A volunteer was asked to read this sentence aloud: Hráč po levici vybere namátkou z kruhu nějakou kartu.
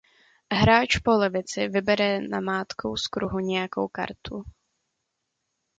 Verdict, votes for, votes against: accepted, 2, 0